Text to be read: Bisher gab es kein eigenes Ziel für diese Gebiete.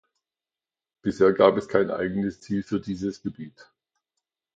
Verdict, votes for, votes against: rejected, 1, 2